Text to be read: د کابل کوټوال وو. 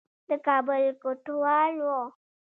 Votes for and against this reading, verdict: 1, 2, rejected